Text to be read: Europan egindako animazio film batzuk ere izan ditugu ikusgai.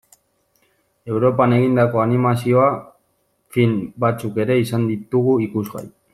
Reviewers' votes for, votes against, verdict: 0, 2, rejected